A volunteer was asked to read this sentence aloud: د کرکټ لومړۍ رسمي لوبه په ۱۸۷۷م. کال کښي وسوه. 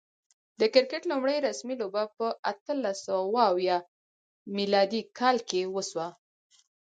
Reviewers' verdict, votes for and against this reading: rejected, 0, 2